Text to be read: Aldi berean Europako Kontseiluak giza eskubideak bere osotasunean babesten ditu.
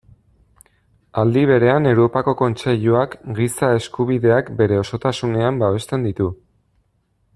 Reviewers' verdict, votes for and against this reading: accepted, 2, 0